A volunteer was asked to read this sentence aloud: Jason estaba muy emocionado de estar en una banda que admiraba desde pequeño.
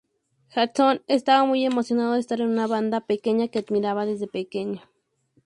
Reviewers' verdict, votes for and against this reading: rejected, 0, 2